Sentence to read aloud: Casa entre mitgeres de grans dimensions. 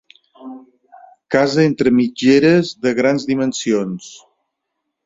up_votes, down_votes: 3, 0